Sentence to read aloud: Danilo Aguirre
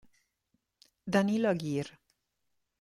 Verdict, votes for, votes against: accepted, 2, 0